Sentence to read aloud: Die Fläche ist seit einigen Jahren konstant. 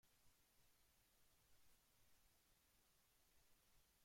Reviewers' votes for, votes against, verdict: 0, 2, rejected